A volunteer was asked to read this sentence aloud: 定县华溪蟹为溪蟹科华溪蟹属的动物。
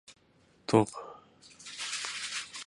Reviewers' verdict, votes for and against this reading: rejected, 0, 2